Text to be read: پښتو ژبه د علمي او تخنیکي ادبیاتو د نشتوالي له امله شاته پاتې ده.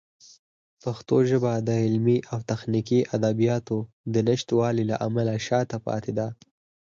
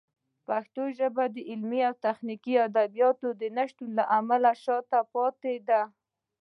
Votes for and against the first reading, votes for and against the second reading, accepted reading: 4, 0, 1, 2, first